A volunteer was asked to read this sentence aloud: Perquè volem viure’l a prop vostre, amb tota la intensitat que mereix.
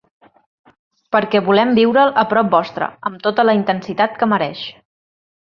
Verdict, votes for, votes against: accepted, 3, 0